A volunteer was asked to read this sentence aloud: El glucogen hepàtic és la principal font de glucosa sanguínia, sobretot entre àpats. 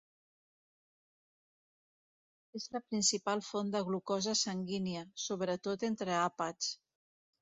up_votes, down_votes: 0, 2